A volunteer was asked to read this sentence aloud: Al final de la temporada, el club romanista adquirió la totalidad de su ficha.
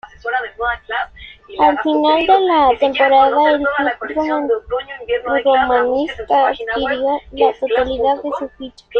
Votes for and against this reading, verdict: 0, 2, rejected